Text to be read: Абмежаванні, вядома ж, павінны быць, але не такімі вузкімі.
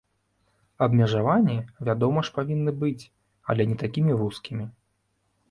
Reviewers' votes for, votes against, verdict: 3, 0, accepted